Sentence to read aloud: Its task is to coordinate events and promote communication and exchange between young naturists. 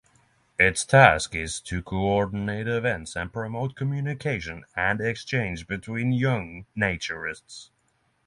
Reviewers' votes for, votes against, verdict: 6, 0, accepted